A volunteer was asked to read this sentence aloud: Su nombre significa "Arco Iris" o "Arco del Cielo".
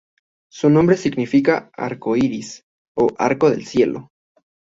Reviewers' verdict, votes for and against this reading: accepted, 2, 0